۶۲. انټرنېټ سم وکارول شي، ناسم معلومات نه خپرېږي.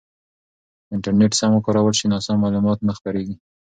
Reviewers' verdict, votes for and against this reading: rejected, 0, 2